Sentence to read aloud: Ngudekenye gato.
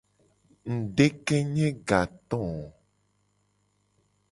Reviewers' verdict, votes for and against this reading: accepted, 2, 0